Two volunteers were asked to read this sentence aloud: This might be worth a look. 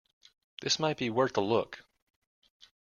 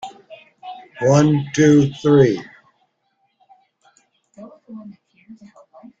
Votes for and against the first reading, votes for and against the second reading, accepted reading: 2, 0, 0, 2, first